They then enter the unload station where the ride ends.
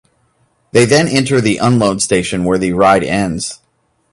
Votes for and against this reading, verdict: 2, 0, accepted